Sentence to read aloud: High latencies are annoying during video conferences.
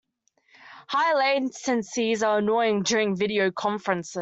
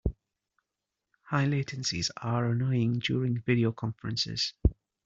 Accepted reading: second